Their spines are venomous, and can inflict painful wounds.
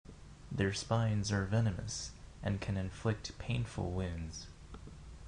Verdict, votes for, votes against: accepted, 3, 0